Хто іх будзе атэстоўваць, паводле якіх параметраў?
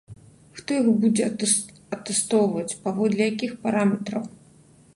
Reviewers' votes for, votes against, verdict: 0, 2, rejected